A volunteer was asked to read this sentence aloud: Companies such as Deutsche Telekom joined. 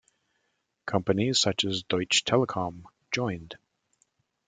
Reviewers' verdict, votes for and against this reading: accepted, 2, 0